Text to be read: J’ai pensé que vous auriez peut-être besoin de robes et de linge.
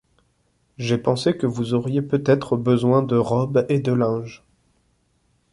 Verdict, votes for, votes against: accepted, 2, 0